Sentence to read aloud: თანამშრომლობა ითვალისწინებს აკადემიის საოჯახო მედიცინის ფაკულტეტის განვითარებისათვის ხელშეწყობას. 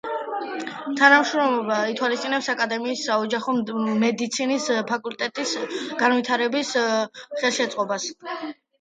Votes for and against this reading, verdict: 0, 2, rejected